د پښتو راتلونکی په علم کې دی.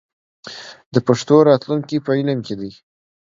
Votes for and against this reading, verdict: 1, 2, rejected